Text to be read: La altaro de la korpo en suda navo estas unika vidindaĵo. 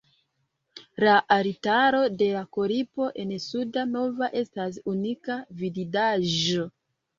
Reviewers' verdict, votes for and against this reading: rejected, 2, 4